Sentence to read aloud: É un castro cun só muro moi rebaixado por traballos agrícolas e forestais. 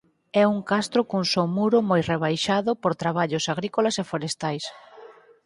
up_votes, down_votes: 4, 0